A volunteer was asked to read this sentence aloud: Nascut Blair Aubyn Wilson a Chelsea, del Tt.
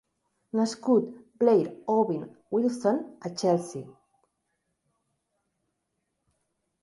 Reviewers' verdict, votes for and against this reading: rejected, 0, 2